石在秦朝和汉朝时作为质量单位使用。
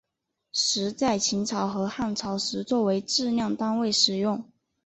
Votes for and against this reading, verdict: 2, 0, accepted